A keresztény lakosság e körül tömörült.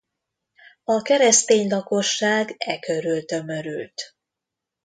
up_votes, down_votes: 2, 0